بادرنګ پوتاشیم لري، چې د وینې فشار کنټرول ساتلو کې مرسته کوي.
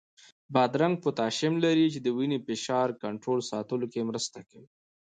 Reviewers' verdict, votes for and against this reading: rejected, 1, 2